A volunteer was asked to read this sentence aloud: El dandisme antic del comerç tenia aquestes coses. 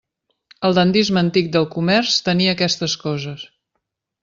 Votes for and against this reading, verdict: 2, 0, accepted